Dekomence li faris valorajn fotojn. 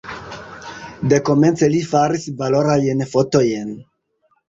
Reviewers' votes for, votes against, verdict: 0, 2, rejected